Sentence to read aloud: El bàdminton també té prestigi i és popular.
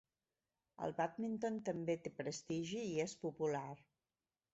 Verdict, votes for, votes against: rejected, 1, 2